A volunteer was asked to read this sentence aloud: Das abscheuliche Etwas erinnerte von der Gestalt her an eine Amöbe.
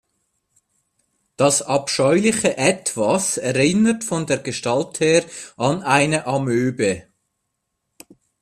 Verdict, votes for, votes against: rejected, 1, 2